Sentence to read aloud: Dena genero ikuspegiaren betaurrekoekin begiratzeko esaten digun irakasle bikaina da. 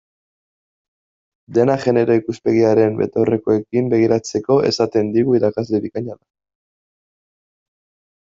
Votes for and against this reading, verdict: 1, 2, rejected